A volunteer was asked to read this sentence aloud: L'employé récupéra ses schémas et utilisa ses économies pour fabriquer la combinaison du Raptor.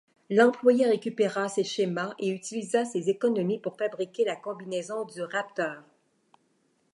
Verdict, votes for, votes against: accepted, 2, 0